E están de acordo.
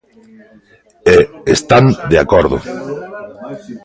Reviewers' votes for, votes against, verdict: 2, 0, accepted